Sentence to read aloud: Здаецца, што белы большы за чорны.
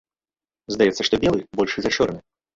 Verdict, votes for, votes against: rejected, 0, 2